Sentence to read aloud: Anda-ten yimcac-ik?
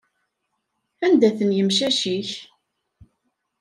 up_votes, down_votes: 0, 2